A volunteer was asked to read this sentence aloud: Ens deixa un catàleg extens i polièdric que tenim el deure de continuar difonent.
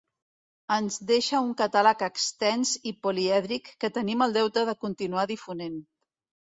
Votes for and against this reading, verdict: 0, 2, rejected